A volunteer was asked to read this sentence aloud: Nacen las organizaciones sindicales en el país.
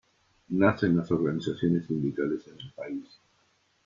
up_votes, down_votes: 0, 2